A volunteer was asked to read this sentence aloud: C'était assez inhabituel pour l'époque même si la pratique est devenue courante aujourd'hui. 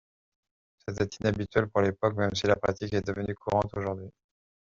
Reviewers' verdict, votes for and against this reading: rejected, 1, 2